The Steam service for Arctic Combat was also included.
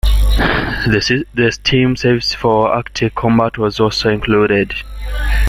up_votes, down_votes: 2, 0